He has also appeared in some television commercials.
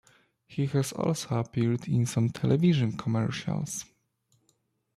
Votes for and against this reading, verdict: 2, 0, accepted